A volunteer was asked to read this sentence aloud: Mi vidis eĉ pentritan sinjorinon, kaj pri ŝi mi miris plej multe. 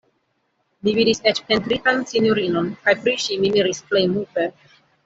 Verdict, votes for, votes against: rejected, 1, 2